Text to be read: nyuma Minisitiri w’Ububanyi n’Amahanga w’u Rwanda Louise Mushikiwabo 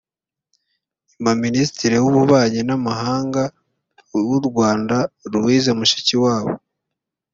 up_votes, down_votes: 2, 3